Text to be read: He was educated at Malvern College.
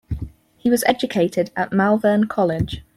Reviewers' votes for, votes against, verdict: 4, 0, accepted